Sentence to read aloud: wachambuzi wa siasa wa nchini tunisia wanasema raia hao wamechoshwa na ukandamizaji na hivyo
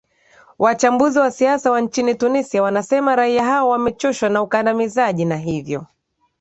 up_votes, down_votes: 2, 0